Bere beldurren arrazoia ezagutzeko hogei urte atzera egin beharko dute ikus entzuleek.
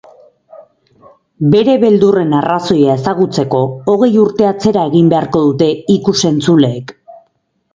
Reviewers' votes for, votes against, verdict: 2, 2, rejected